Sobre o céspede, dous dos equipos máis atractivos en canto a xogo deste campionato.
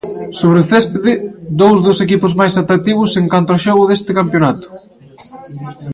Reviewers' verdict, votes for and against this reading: rejected, 0, 2